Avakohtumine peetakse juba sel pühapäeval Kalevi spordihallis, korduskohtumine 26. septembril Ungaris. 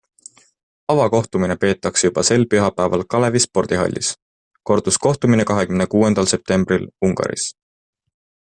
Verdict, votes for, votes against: rejected, 0, 2